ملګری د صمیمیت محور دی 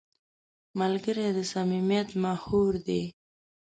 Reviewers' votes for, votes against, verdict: 1, 2, rejected